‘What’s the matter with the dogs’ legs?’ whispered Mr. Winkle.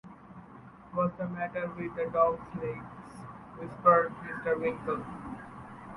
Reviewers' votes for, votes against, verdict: 1, 2, rejected